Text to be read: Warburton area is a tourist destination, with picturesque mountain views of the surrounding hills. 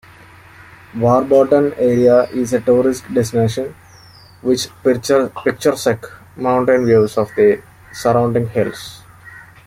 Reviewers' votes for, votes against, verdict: 1, 2, rejected